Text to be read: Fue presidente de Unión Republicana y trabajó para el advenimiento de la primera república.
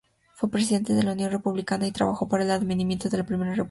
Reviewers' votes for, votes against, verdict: 0, 2, rejected